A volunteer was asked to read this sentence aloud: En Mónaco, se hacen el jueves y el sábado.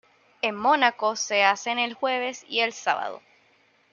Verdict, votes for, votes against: accepted, 2, 0